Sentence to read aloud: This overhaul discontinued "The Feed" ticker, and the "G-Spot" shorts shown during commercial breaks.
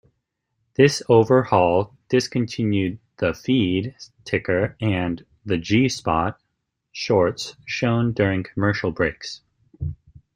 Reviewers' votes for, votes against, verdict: 2, 0, accepted